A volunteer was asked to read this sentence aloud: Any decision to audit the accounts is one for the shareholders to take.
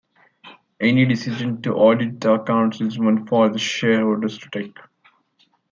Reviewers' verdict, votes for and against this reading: accepted, 2, 0